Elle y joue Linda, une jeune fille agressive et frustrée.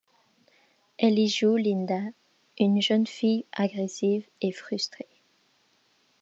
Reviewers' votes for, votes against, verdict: 2, 0, accepted